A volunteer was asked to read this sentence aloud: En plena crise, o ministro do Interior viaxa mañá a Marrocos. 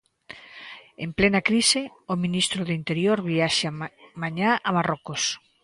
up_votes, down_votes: 0, 2